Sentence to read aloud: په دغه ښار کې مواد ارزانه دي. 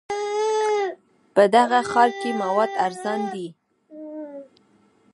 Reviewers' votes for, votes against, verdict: 1, 2, rejected